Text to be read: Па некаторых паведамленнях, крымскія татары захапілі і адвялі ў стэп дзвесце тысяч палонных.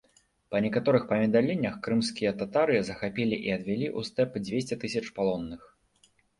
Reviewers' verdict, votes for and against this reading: accepted, 2, 1